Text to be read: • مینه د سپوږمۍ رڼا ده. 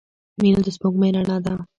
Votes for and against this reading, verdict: 1, 2, rejected